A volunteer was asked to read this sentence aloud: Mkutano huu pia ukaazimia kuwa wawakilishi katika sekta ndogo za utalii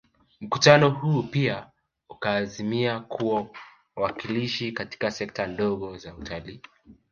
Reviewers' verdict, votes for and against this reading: accepted, 2, 0